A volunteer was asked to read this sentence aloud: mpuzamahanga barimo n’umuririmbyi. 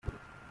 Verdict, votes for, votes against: rejected, 0, 2